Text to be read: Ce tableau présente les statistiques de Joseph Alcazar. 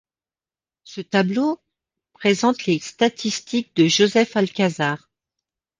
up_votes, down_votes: 2, 0